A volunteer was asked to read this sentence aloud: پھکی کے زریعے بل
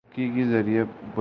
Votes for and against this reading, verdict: 0, 2, rejected